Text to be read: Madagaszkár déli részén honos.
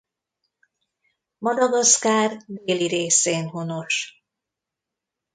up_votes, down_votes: 1, 2